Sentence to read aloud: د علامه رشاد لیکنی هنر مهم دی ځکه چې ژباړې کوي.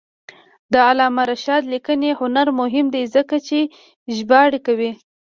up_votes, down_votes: 0, 2